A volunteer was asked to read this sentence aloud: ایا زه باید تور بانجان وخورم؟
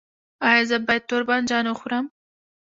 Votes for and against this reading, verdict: 1, 2, rejected